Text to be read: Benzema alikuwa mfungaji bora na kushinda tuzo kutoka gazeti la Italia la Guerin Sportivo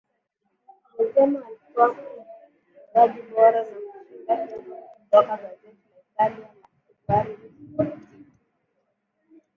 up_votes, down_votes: 0, 2